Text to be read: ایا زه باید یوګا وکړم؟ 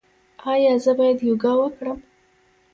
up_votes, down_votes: 1, 2